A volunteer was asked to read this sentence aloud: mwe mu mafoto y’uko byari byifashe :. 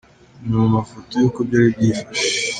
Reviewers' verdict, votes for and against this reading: accepted, 2, 1